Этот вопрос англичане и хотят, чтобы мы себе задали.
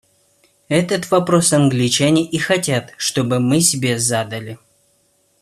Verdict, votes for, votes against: accepted, 2, 1